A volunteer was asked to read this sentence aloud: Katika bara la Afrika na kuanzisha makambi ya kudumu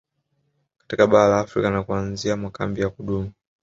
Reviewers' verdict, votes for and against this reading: accepted, 2, 0